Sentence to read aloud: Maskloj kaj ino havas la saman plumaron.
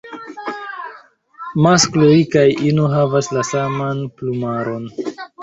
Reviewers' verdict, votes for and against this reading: accepted, 3, 1